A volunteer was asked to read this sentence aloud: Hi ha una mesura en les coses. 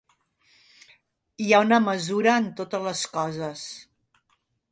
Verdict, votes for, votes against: rejected, 0, 3